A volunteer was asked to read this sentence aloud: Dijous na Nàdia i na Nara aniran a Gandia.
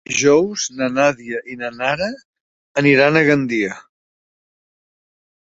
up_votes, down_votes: 1, 2